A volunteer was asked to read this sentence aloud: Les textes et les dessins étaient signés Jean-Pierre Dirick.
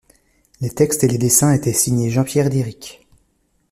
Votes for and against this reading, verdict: 2, 0, accepted